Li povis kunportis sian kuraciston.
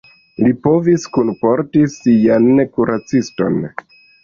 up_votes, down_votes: 1, 2